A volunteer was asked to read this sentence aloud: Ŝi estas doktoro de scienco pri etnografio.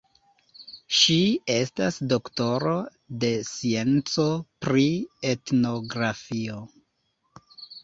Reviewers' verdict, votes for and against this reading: rejected, 0, 2